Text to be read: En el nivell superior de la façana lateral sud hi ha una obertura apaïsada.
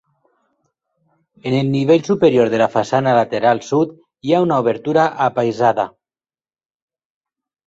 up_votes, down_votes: 6, 0